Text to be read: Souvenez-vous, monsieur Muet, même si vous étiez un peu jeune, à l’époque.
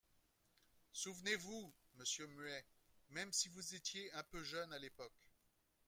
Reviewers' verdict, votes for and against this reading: accepted, 2, 0